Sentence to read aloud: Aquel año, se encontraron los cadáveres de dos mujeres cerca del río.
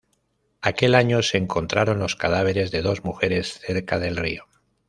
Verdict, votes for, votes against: accepted, 2, 0